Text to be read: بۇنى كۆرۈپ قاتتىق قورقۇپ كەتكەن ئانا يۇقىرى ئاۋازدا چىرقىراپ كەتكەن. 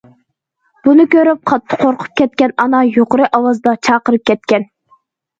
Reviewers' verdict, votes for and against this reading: rejected, 1, 2